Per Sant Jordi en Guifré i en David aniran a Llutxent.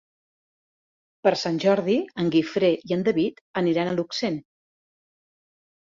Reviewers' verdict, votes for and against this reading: rejected, 1, 2